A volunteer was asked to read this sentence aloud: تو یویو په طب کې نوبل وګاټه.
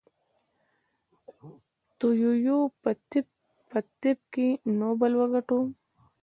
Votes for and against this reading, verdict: 1, 2, rejected